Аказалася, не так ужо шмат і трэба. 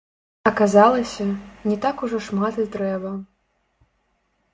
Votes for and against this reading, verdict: 0, 2, rejected